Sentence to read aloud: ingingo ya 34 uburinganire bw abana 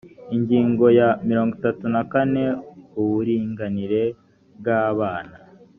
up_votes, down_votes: 0, 2